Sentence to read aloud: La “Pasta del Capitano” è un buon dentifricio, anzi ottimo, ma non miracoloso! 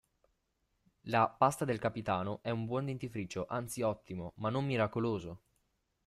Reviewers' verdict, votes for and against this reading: accepted, 2, 0